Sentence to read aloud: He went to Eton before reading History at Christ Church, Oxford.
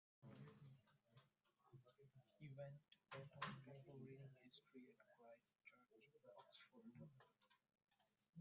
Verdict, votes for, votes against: rejected, 1, 2